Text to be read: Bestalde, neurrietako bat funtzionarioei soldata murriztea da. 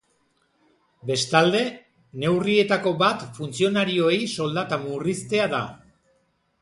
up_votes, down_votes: 4, 0